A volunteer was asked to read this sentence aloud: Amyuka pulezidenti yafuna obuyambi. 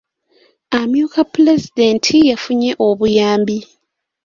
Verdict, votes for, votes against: rejected, 0, 2